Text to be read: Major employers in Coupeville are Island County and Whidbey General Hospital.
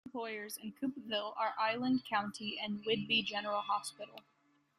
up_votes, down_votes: 1, 2